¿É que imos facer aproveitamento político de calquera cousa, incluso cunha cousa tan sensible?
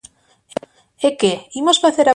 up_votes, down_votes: 0, 2